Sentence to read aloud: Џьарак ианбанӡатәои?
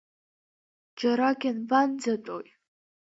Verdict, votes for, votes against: accepted, 2, 0